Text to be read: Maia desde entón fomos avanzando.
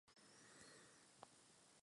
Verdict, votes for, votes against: rejected, 0, 2